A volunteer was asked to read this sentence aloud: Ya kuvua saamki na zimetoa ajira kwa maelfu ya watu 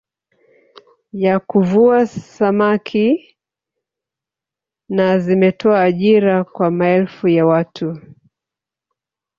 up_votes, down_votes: 0, 2